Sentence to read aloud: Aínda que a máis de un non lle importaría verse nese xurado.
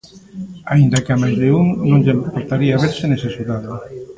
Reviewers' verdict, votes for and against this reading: rejected, 1, 2